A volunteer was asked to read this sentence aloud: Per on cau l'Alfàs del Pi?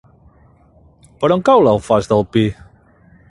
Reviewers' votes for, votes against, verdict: 6, 0, accepted